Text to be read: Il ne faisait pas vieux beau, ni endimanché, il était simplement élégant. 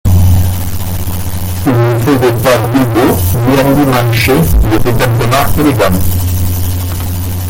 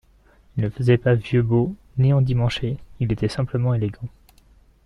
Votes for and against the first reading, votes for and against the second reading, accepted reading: 0, 2, 2, 0, second